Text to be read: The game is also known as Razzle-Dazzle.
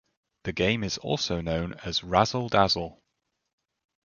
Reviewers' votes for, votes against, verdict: 2, 0, accepted